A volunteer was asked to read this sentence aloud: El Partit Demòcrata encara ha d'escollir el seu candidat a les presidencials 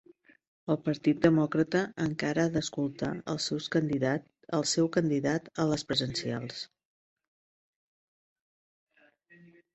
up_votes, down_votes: 0, 4